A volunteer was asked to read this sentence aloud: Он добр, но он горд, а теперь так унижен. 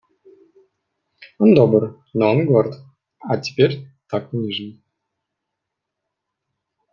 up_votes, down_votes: 1, 2